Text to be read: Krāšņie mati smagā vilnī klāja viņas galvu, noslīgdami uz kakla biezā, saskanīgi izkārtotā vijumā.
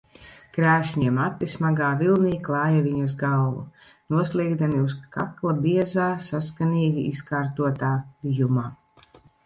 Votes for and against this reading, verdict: 1, 2, rejected